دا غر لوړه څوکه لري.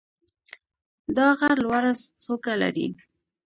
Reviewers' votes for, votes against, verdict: 1, 2, rejected